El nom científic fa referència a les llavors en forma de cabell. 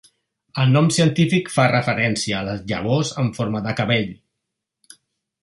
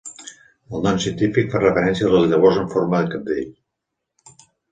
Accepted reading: first